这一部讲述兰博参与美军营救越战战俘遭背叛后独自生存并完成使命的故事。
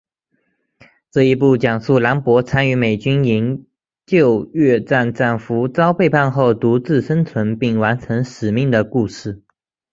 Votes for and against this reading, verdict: 2, 1, accepted